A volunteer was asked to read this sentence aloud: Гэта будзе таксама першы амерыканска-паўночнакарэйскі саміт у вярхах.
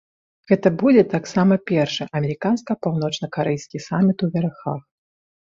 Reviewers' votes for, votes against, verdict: 1, 2, rejected